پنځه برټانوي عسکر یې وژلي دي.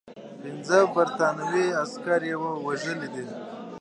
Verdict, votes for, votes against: accepted, 2, 1